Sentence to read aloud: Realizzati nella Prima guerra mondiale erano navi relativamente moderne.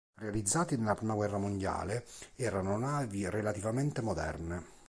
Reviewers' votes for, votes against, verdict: 3, 0, accepted